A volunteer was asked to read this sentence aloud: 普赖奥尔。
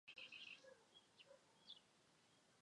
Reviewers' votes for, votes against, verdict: 0, 2, rejected